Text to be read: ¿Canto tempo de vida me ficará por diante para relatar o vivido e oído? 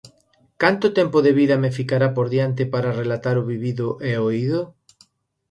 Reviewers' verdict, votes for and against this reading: accepted, 2, 0